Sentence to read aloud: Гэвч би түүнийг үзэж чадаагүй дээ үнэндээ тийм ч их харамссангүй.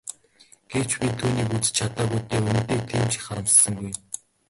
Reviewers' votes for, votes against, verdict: 0, 2, rejected